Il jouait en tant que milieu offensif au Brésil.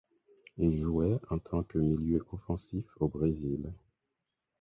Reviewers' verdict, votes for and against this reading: accepted, 4, 0